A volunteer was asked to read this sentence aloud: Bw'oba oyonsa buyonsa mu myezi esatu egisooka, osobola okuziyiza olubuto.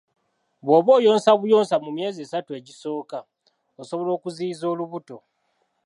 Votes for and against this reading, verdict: 2, 0, accepted